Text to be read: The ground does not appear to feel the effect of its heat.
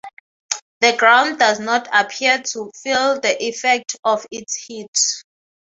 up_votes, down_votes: 6, 0